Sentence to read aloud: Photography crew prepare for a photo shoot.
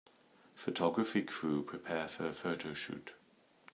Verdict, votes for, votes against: accepted, 2, 0